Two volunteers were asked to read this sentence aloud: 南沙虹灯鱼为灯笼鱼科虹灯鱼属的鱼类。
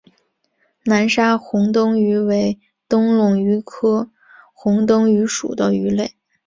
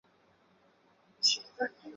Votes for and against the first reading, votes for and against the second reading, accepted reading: 2, 0, 0, 5, first